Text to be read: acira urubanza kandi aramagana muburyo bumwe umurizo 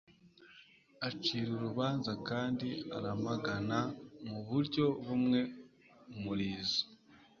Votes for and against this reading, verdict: 2, 0, accepted